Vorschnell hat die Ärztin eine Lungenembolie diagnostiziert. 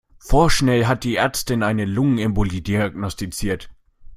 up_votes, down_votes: 2, 0